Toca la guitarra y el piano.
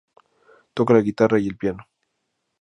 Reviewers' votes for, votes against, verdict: 2, 0, accepted